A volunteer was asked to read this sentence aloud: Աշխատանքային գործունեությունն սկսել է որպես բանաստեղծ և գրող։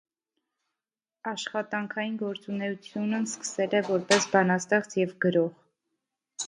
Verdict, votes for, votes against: rejected, 1, 2